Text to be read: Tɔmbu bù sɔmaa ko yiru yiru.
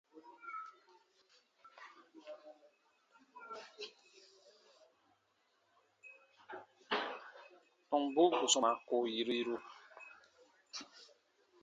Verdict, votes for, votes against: accepted, 2, 0